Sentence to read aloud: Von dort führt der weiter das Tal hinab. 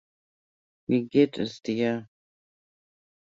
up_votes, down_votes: 0, 2